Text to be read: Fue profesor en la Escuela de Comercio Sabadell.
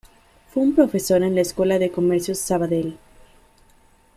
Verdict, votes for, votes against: rejected, 1, 2